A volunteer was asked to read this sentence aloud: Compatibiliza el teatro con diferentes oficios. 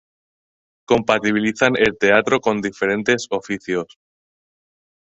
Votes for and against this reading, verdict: 0, 2, rejected